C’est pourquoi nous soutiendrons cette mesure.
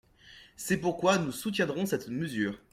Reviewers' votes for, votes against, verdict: 2, 0, accepted